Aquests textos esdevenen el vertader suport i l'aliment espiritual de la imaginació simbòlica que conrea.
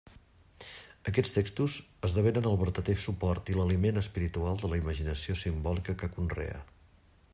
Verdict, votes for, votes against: accepted, 2, 0